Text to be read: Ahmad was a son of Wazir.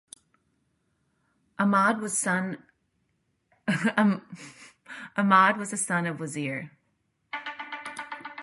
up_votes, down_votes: 0, 2